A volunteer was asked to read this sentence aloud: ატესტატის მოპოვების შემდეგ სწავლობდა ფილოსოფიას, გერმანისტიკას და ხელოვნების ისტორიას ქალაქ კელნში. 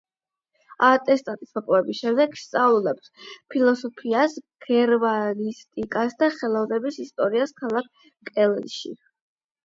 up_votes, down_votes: 8, 4